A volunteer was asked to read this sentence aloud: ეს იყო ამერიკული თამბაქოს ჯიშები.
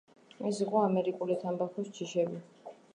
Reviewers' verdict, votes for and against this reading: rejected, 1, 2